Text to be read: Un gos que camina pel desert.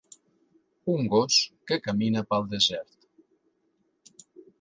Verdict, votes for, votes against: accepted, 3, 0